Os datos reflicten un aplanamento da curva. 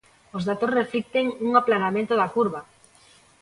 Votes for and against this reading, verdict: 2, 0, accepted